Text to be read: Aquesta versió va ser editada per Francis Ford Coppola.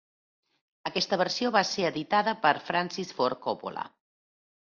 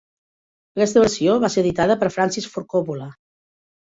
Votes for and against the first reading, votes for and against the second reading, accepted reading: 2, 0, 0, 2, first